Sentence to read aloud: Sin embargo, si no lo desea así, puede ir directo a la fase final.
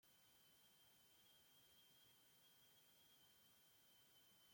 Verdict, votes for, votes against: rejected, 0, 2